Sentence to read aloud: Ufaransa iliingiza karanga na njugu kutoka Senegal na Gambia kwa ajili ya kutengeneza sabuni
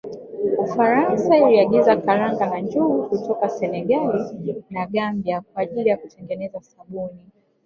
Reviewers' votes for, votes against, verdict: 0, 3, rejected